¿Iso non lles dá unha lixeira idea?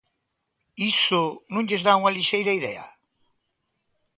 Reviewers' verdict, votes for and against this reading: accepted, 3, 0